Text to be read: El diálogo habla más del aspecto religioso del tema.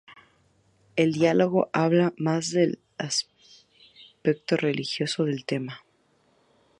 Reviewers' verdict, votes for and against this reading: accepted, 2, 0